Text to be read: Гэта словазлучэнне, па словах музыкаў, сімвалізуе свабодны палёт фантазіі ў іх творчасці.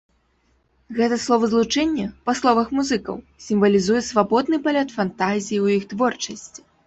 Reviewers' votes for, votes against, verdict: 2, 0, accepted